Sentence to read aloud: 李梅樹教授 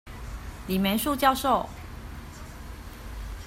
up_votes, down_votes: 1, 2